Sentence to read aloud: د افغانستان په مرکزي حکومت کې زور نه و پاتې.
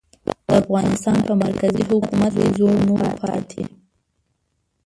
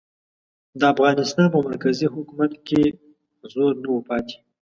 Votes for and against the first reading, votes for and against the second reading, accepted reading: 0, 2, 2, 0, second